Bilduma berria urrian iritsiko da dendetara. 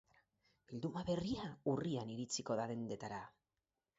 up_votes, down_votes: 4, 0